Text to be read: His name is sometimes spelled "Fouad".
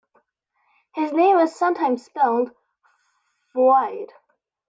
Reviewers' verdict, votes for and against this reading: accepted, 2, 1